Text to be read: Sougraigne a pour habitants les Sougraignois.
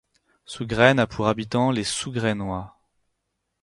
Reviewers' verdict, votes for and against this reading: rejected, 2, 4